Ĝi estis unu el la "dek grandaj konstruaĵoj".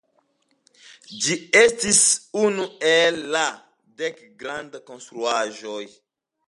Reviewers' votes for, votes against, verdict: 2, 0, accepted